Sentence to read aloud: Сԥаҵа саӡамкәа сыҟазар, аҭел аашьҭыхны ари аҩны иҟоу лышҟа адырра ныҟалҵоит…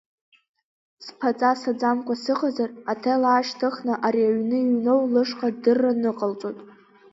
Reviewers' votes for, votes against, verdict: 3, 1, accepted